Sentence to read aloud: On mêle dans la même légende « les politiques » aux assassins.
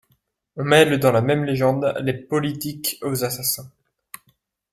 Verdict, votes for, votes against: accepted, 2, 0